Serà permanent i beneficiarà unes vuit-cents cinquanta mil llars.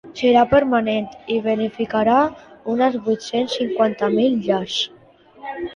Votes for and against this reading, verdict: 0, 2, rejected